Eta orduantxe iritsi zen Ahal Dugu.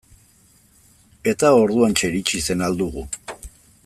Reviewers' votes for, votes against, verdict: 2, 0, accepted